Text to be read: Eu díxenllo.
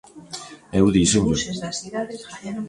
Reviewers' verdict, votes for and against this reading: rejected, 0, 2